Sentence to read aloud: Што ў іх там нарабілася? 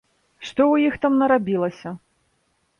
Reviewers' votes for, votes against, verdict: 2, 0, accepted